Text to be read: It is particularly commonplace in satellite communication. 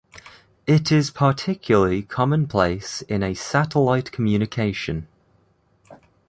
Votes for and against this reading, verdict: 1, 2, rejected